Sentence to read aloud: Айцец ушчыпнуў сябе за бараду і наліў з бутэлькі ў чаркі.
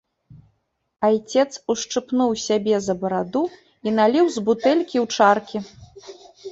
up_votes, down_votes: 2, 0